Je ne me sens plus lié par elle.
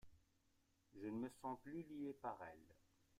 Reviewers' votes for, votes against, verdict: 0, 2, rejected